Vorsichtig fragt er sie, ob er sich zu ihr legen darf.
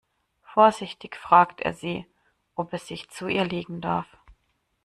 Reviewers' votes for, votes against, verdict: 2, 0, accepted